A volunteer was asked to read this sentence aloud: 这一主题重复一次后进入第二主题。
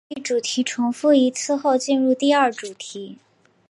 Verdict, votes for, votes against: accepted, 3, 0